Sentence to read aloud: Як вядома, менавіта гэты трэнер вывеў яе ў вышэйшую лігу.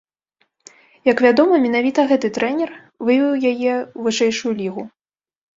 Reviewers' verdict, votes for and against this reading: accepted, 2, 0